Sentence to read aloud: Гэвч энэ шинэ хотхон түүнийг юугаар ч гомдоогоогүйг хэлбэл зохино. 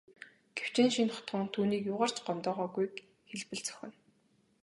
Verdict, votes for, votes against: accepted, 3, 0